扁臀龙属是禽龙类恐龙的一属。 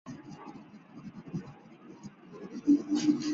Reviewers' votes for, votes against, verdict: 0, 3, rejected